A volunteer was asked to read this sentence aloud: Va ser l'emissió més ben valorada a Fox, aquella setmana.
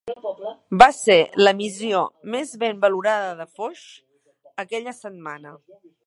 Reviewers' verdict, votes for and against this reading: rejected, 0, 2